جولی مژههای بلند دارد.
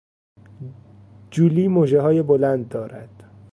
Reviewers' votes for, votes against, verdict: 2, 0, accepted